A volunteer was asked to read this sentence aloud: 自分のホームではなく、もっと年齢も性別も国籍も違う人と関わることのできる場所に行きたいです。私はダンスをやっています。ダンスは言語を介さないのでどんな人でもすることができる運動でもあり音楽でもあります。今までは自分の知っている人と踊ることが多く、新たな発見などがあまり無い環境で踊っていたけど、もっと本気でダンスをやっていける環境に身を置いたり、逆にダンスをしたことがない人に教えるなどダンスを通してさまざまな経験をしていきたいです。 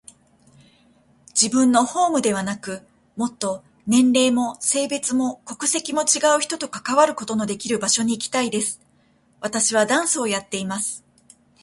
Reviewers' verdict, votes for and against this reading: accepted, 2, 1